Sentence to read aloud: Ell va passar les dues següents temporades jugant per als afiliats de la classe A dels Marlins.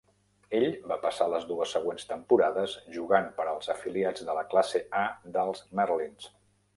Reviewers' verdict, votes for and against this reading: rejected, 1, 2